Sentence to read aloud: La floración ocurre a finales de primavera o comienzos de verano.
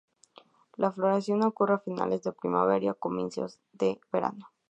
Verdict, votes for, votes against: rejected, 0, 2